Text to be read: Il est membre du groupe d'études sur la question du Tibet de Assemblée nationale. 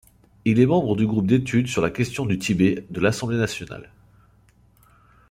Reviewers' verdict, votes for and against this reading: accepted, 2, 0